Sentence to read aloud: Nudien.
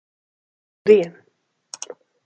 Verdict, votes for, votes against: rejected, 0, 2